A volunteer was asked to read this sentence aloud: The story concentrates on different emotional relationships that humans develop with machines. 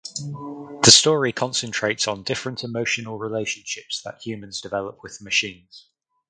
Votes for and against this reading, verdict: 4, 0, accepted